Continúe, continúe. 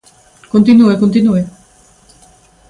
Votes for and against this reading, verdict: 3, 0, accepted